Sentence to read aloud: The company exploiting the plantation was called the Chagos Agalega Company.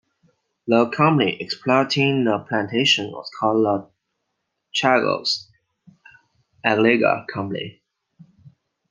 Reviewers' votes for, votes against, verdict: 2, 1, accepted